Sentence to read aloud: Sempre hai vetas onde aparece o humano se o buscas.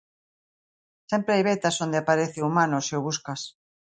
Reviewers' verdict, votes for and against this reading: accepted, 2, 0